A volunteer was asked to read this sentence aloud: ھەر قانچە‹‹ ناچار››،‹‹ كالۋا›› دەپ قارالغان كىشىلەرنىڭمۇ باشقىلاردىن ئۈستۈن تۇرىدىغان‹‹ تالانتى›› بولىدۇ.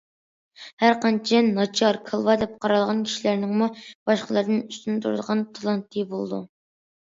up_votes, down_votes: 0, 2